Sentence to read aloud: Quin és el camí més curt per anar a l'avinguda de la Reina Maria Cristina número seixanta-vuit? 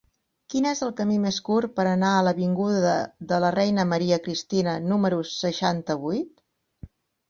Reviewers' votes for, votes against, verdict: 2, 4, rejected